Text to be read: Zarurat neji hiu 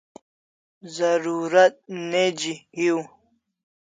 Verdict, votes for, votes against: accepted, 2, 0